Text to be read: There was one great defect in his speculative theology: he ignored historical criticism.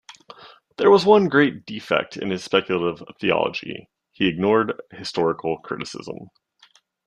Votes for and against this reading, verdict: 2, 0, accepted